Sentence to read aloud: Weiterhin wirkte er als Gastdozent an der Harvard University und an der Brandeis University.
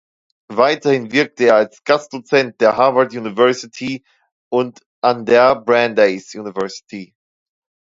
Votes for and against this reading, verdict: 0, 2, rejected